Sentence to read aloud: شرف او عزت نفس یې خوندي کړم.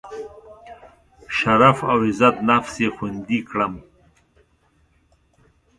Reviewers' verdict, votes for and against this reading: rejected, 1, 2